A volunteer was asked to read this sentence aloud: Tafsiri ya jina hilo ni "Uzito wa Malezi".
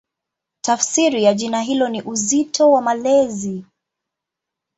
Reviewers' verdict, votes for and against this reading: accepted, 2, 0